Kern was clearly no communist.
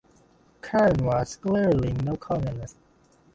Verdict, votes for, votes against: rejected, 1, 2